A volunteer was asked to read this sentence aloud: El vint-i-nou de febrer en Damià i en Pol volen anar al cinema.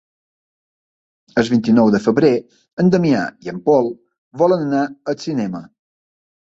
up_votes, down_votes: 2, 0